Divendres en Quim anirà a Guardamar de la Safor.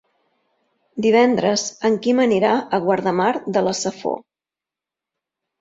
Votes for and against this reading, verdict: 3, 0, accepted